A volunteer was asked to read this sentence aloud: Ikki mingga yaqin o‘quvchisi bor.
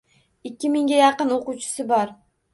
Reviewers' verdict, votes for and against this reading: accepted, 2, 0